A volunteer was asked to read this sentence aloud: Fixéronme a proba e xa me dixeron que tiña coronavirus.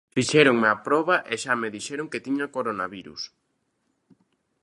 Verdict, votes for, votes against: accepted, 2, 0